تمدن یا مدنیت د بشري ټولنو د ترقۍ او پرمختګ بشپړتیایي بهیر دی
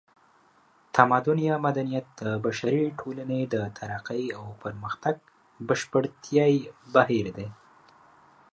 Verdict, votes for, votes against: rejected, 1, 2